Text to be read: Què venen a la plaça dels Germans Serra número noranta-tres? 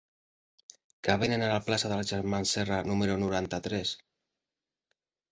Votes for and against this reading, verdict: 1, 4, rejected